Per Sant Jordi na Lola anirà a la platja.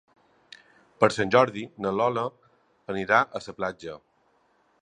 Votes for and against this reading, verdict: 0, 2, rejected